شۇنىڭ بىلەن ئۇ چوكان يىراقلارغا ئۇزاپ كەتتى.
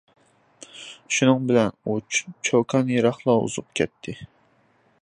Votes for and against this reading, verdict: 1, 2, rejected